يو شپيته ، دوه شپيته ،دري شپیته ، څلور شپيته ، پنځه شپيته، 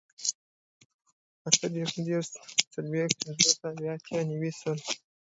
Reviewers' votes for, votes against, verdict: 0, 2, rejected